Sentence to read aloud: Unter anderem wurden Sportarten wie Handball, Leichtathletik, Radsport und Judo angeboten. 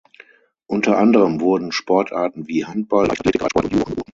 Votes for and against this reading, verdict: 0, 6, rejected